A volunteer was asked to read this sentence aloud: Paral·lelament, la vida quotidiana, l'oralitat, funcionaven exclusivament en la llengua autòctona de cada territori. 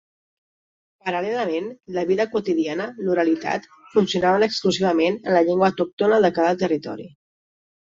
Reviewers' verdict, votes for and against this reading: accepted, 4, 0